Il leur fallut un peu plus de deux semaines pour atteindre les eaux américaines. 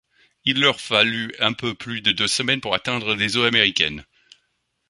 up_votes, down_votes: 2, 0